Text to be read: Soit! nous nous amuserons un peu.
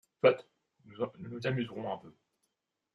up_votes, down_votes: 0, 2